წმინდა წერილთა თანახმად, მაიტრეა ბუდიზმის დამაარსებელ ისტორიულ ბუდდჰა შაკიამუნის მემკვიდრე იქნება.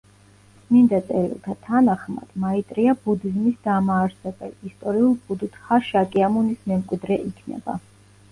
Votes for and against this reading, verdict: 2, 0, accepted